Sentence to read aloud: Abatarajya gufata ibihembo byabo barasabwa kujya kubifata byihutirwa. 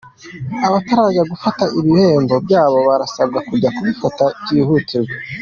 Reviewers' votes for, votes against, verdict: 2, 0, accepted